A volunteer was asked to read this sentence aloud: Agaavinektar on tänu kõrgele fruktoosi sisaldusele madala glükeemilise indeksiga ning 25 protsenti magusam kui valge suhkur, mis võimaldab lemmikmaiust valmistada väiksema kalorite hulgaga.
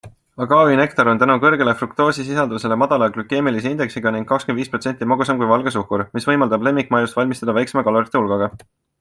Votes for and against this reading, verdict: 0, 2, rejected